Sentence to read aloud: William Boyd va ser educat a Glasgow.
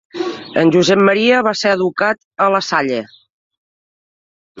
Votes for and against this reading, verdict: 0, 2, rejected